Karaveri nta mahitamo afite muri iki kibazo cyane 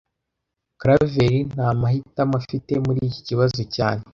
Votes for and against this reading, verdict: 2, 0, accepted